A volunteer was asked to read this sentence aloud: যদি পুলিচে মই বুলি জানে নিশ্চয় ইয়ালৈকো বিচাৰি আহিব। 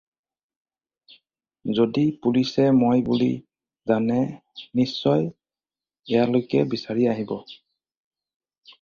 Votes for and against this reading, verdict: 2, 4, rejected